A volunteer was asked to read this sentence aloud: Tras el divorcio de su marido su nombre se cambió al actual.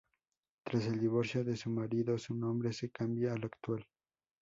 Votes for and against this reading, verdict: 0, 2, rejected